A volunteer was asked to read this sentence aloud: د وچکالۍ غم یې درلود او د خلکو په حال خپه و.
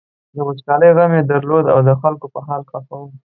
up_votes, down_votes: 3, 0